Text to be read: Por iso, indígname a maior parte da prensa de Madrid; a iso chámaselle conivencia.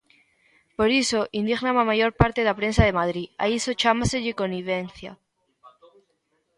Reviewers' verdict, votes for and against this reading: rejected, 0, 2